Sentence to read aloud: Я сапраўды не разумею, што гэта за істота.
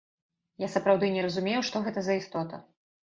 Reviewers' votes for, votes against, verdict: 2, 0, accepted